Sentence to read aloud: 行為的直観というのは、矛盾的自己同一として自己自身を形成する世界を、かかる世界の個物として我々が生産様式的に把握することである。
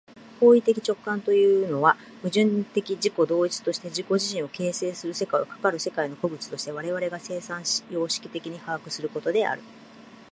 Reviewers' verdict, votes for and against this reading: accepted, 3, 0